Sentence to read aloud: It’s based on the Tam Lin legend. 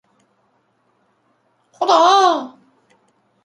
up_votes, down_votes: 0, 2